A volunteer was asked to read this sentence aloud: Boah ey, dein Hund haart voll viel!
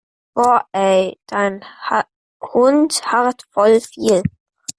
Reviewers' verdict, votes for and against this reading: rejected, 0, 2